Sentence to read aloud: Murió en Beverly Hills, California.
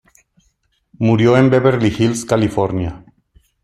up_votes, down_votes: 2, 0